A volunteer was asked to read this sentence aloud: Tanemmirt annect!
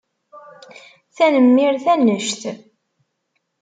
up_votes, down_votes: 2, 0